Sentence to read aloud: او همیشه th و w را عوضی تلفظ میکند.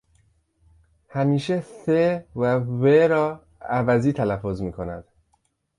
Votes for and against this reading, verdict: 0, 2, rejected